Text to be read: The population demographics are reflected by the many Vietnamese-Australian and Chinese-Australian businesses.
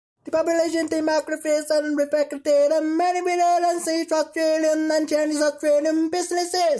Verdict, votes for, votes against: rejected, 0, 2